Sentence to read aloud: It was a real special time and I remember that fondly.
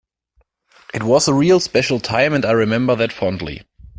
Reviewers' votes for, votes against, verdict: 2, 0, accepted